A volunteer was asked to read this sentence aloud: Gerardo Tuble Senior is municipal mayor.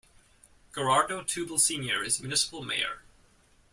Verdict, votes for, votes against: rejected, 1, 2